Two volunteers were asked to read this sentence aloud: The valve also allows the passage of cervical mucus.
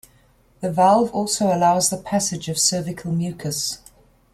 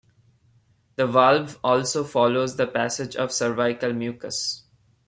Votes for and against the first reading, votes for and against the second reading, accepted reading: 2, 0, 1, 2, first